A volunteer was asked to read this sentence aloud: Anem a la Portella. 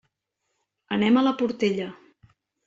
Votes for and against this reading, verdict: 3, 0, accepted